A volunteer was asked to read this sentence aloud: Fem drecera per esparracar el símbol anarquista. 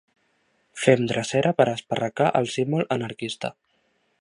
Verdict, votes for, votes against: accepted, 2, 0